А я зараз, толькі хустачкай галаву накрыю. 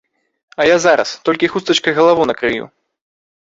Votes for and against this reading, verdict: 2, 0, accepted